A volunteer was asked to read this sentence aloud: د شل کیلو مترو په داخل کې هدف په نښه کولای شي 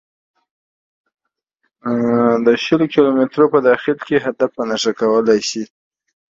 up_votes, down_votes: 2, 0